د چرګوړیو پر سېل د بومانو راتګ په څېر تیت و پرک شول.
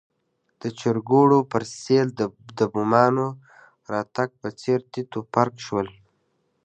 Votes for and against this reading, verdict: 2, 0, accepted